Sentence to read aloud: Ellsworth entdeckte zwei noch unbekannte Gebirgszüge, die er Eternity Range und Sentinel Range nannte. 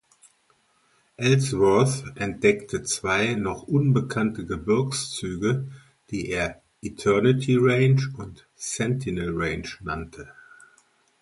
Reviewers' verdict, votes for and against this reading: accepted, 2, 0